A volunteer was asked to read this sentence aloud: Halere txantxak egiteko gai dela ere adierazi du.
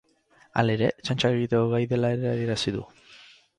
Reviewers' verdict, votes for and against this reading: rejected, 2, 2